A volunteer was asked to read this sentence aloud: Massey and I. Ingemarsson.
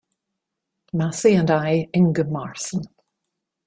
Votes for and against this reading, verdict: 2, 0, accepted